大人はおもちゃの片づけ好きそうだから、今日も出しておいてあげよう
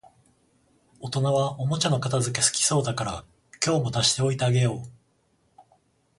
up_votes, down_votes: 0, 14